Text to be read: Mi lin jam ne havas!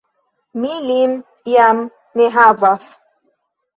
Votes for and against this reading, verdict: 2, 0, accepted